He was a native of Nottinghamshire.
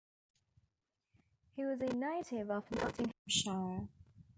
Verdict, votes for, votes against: rejected, 0, 2